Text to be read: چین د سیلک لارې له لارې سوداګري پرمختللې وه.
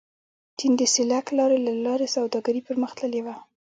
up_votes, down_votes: 1, 2